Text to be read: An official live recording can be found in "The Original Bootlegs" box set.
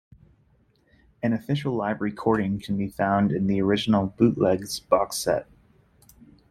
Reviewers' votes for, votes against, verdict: 2, 0, accepted